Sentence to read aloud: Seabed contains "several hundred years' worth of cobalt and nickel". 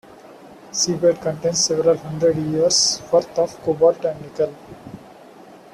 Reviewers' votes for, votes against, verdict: 2, 0, accepted